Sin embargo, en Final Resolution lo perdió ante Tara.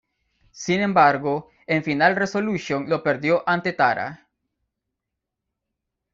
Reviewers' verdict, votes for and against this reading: accepted, 2, 1